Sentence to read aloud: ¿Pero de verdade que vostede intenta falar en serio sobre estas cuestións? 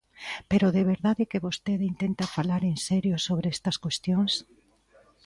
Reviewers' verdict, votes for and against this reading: accepted, 2, 0